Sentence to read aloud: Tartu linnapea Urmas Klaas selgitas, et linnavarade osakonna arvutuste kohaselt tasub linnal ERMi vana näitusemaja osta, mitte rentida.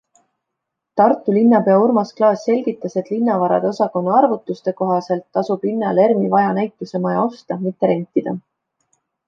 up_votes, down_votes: 2, 0